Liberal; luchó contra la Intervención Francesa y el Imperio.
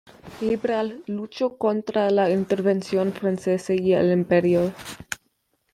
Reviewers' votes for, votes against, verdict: 1, 2, rejected